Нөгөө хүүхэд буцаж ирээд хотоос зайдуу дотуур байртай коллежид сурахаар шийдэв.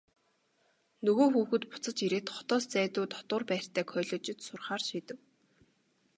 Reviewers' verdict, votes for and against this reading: accepted, 2, 0